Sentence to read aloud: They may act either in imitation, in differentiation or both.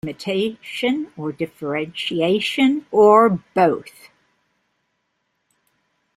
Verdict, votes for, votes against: rejected, 0, 2